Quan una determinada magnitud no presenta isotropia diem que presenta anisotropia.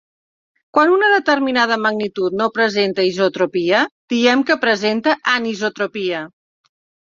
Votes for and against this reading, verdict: 2, 0, accepted